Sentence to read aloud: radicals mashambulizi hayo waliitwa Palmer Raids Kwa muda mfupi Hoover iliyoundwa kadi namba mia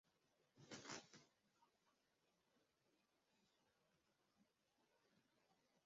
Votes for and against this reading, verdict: 0, 2, rejected